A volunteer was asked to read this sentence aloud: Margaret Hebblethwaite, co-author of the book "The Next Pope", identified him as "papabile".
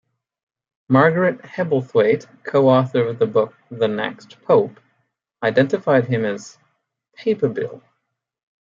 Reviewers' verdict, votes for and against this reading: accepted, 2, 0